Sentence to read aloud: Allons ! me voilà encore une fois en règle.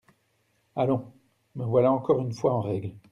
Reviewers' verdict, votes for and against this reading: accepted, 2, 0